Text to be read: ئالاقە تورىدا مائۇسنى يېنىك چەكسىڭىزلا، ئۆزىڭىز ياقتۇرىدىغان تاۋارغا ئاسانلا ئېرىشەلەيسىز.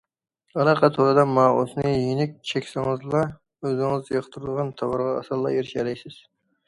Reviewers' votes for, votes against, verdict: 2, 0, accepted